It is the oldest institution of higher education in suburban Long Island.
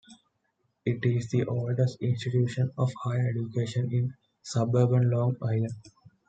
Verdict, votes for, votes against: accepted, 2, 0